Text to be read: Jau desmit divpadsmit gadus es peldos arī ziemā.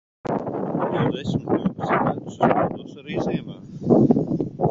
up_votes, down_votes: 0, 2